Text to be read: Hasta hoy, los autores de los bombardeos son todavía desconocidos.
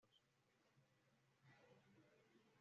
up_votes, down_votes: 1, 2